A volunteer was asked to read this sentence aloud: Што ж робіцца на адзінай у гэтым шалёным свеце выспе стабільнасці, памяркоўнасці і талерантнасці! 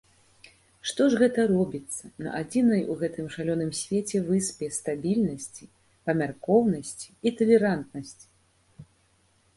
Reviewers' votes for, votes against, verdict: 0, 2, rejected